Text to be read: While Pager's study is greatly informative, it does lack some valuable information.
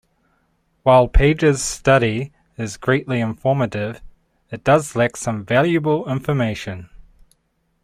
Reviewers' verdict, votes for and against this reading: accepted, 2, 0